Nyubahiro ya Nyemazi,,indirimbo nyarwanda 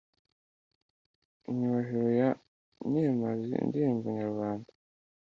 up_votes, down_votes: 1, 2